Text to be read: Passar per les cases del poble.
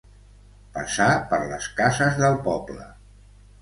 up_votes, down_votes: 2, 0